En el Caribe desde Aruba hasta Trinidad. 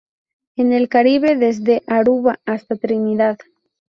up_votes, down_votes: 4, 0